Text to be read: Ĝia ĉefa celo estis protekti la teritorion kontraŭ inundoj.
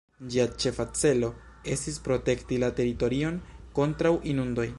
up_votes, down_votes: 2, 1